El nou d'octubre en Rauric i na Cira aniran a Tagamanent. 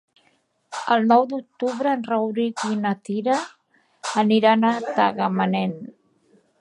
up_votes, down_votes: 4, 3